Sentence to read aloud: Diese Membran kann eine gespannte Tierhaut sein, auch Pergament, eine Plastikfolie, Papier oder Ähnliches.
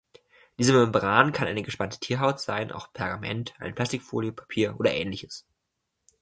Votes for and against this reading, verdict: 2, 0, accepted